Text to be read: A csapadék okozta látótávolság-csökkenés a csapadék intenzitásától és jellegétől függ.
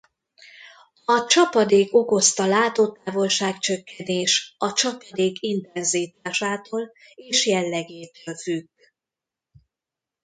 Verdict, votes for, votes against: rejected, 1, 2